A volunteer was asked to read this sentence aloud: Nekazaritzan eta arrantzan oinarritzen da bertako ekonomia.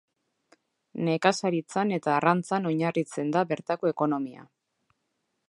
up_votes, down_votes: 2, 0